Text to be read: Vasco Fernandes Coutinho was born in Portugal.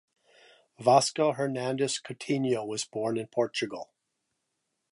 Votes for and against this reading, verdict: 2, 1, accepted